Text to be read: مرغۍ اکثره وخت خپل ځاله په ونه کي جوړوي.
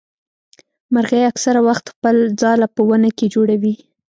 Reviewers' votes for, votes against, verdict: 2, 0, accepted